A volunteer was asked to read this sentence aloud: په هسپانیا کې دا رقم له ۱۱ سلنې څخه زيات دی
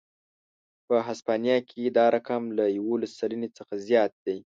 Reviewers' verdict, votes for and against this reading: rejected, 0, 2